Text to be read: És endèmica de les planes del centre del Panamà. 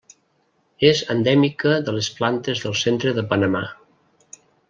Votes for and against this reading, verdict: 0, 2, rejected